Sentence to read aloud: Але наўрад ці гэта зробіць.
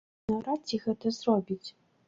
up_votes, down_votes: 1, 2